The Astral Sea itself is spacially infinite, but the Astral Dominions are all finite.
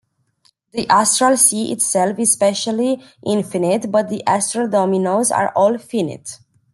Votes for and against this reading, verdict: 0, 2, rejected